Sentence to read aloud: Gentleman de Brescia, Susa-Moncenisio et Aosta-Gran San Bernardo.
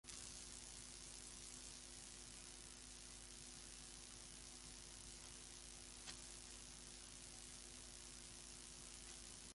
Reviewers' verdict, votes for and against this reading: rejected, 0, 2